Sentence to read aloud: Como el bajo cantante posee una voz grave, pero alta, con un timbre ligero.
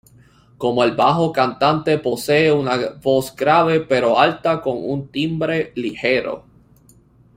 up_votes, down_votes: 2, 0